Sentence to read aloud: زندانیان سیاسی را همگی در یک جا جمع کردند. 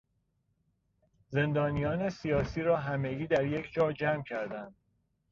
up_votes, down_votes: 2, 0